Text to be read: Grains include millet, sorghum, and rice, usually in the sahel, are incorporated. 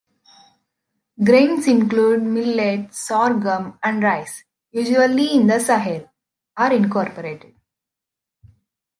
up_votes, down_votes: 2, 0